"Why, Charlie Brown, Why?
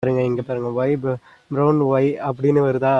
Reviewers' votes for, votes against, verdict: 0, 2, rejected